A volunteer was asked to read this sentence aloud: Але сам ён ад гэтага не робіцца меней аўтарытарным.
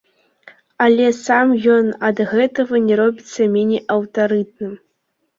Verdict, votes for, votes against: rejected, 0, 2